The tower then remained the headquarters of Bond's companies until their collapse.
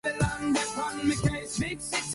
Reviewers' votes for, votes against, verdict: 0, 2, rejected